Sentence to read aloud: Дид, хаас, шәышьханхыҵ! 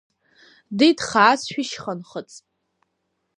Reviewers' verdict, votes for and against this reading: accepted, 2, 0